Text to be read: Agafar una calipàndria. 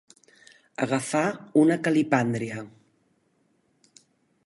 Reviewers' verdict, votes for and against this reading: accepted, 2, 0